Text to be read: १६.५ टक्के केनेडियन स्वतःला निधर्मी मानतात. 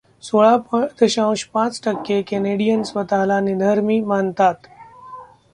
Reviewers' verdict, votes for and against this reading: rejected, 0, 2